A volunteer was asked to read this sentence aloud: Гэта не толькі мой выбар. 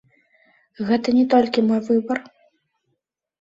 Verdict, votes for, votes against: accepted, 2, 1